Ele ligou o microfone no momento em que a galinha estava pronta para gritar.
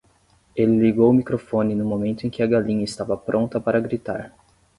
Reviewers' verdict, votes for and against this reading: accepted, 10, 0